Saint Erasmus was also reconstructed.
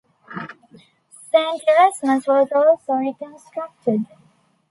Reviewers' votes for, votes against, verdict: 1, 2, rejected